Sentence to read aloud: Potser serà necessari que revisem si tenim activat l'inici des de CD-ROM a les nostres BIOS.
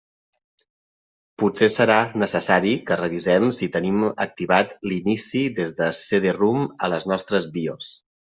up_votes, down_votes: 1, 2